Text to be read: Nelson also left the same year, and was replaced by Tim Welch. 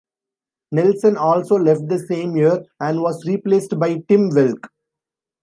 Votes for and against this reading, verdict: 2, 0, accepted